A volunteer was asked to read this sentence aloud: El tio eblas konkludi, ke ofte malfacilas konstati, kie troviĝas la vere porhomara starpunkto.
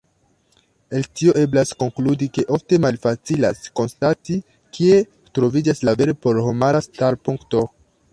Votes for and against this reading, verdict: 2, 1, accepted